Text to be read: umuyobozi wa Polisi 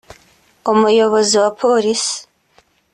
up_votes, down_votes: 3, 0